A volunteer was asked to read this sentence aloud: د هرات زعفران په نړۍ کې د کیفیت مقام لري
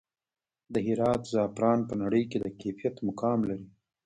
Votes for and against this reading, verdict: 1, 2, rejected